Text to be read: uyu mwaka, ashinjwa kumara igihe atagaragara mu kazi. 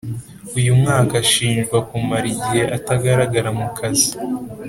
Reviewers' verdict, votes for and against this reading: accepted, 2, 0